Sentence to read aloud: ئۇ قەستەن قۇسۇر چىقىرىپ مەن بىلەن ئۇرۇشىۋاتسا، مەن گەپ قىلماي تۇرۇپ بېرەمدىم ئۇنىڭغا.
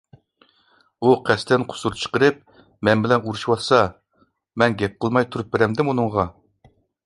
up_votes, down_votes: 2, 0